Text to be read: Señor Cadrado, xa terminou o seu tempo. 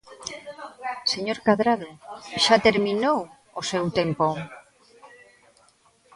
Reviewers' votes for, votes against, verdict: 1, 2, rejected